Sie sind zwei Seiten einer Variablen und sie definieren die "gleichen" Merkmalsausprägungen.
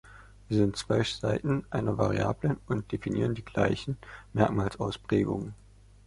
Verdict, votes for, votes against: rejected, 0, 2